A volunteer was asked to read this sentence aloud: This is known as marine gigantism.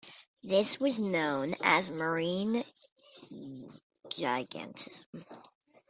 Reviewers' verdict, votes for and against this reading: rejected, 1, 2